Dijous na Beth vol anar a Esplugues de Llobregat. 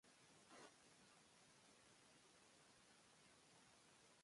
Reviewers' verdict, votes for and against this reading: rejected, 0, 2